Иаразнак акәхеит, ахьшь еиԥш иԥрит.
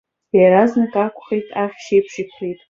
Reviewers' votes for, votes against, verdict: 1, 2, rejected